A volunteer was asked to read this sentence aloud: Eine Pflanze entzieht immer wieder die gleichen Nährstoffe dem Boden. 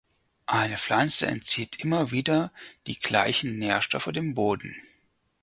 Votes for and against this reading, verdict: 4, 0, accepted